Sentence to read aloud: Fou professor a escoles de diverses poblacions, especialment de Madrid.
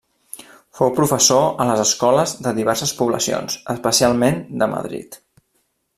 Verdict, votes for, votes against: rejected, 1, 2